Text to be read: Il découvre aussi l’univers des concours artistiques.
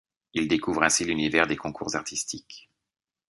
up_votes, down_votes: 1, 2